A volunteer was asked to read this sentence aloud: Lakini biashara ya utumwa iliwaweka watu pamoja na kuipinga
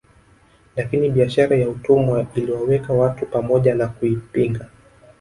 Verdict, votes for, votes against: accepted, 2, 0